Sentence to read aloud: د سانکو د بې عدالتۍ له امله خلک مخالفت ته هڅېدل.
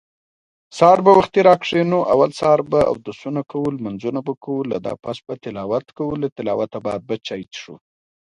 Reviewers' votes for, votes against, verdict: 2, 0, accepted